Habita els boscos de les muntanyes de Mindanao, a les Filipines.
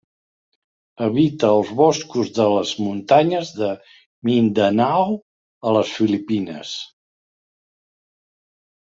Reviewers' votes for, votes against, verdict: 3, 0, accepted